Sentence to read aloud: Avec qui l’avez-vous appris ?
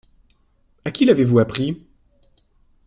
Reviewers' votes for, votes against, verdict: 0, 2, rejected